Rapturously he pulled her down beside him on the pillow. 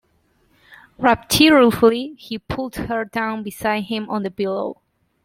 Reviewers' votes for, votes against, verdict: 0, 2, rejected